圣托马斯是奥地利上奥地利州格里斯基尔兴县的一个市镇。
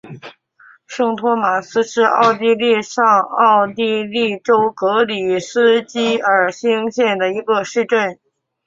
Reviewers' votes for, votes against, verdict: 3, 0, accepted